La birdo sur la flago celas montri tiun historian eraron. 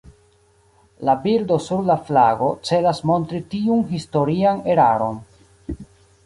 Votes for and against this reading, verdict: 2, 1, accepted